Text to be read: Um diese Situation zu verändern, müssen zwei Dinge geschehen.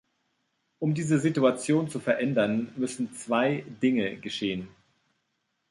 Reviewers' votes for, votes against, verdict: 2, 0, accepted